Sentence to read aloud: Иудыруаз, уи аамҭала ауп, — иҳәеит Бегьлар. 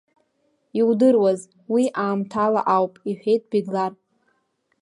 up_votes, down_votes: 2, 0